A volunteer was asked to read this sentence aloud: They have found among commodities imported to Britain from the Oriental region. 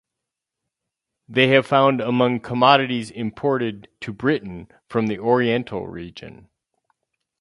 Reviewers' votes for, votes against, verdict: 2, 2, rejected